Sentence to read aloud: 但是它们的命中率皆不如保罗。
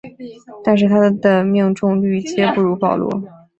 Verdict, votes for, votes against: accepted, 4, 1